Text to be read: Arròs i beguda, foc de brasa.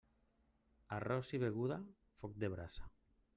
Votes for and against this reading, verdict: 1, 2, rejected